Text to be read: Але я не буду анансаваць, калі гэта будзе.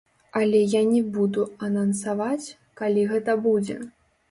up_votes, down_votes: 2, 0